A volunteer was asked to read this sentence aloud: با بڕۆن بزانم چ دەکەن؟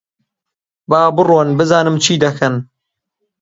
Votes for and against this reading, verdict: 0, 2, rejected